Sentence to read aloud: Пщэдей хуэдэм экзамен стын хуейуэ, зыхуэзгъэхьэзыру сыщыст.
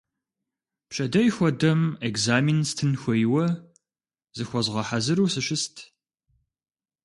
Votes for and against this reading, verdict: 2, 0, accepted